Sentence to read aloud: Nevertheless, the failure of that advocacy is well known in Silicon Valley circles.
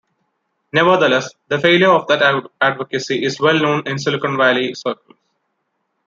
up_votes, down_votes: 2, 0